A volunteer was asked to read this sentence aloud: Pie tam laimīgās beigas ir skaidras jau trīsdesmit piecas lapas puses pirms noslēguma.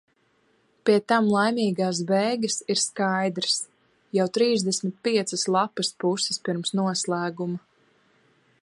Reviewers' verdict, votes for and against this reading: accepted, 3, 0